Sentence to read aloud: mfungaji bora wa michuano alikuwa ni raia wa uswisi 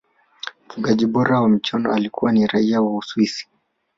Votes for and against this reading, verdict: 2, 0, accepted